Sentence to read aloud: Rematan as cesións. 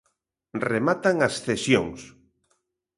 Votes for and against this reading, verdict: 2, 0, accepted